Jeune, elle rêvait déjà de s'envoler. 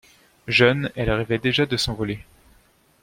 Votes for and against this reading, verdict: 2, 0, accepted